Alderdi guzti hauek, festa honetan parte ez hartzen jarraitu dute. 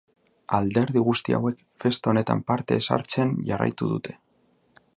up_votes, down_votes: 3, 1